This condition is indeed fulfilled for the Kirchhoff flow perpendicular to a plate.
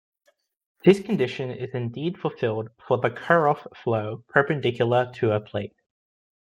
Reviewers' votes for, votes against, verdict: 1, 2, rejected